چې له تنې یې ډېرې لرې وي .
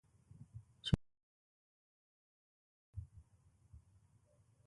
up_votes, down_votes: 2, 0